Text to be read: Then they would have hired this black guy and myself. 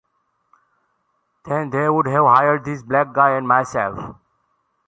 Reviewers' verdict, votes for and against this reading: accepted, 2, 0